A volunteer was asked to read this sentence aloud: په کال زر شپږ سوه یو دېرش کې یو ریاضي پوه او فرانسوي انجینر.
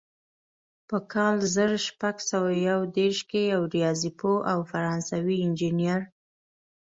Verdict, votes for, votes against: accepted, 2, 0